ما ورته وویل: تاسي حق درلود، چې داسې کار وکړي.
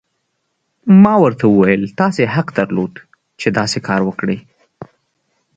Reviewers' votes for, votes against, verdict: 2, 0, accepted